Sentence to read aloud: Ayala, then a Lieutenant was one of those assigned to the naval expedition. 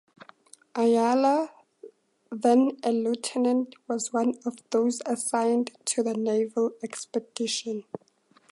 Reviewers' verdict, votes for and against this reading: accepted, 4, 0